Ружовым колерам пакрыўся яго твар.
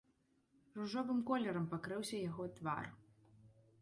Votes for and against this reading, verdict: 0, 2, rejected